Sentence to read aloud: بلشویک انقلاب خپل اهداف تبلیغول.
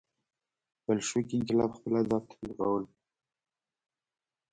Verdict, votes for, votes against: rejected, 1, 2